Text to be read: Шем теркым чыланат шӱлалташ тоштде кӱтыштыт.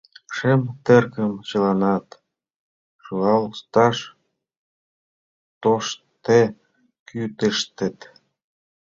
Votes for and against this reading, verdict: 0, 2, rejected